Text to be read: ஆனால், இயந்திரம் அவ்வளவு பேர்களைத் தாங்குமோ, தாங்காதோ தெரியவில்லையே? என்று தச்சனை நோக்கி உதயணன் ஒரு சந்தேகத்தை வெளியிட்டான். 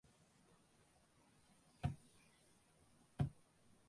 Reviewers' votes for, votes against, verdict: 0, 2, rejected